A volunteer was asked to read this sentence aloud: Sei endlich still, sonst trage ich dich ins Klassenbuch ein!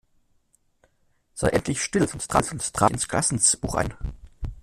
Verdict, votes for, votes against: rejected, 0, 2